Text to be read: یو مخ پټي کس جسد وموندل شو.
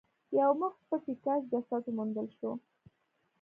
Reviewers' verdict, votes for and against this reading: accepted, 2, 1